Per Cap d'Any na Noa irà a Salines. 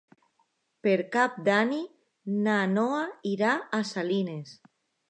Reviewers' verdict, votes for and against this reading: rejected, 0, 2